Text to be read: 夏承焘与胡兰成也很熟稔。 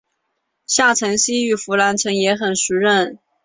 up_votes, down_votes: 2, 2